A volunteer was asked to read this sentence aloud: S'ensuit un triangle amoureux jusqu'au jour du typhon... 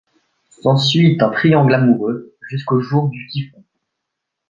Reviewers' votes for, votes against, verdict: 2, 0, accepted